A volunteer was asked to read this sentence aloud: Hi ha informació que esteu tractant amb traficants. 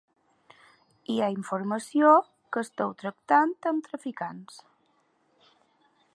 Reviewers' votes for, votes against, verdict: 5, 0, accepted